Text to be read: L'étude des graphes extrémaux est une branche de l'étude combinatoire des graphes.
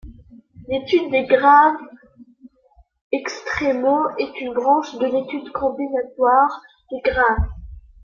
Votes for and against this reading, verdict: 2, 0, accepted